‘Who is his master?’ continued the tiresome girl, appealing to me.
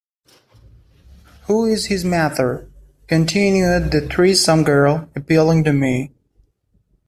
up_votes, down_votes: 0, 2